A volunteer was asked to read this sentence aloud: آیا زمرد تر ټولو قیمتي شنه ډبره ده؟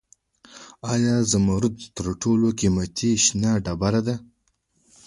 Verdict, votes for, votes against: accepted, 2, 0